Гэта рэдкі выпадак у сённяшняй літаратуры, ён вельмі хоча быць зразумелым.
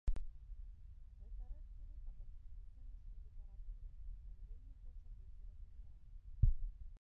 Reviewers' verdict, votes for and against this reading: rejected, 0, 2